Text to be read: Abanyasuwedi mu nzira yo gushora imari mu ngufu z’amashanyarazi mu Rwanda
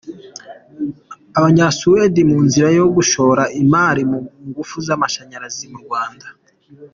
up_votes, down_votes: 2, 0